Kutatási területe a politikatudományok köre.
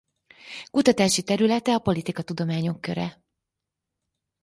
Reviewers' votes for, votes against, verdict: 4, 0, accepted